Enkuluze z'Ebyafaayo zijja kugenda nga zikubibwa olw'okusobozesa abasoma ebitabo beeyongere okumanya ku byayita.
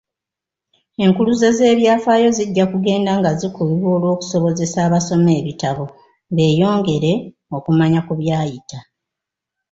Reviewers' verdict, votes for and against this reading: rejected, 0, 2